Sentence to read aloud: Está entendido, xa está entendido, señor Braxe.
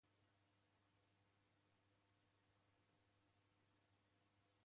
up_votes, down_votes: 0, 2